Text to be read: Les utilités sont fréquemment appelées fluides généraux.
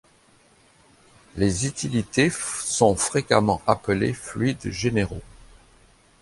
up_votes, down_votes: 0, 2